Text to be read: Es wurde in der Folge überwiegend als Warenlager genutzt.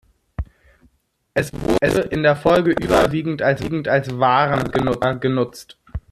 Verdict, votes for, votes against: rejected, 0, 2